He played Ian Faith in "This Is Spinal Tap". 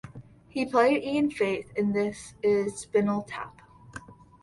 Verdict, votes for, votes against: rejected, 1, 2